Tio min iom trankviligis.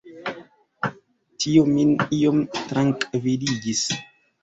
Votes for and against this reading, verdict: 2, 1, accepted